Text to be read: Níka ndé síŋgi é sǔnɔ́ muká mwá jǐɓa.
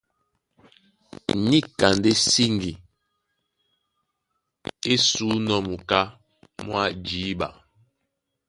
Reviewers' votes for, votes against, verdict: 2, 0, accepted